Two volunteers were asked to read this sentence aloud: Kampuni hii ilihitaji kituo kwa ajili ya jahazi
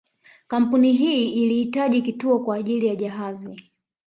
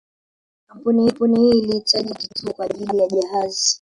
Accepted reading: first